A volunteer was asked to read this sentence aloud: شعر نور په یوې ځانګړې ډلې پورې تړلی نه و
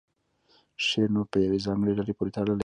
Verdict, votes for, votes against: accepted, 2, 0